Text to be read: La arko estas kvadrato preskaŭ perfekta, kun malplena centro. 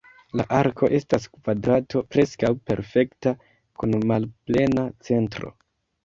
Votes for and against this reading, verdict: 0, 2, rejected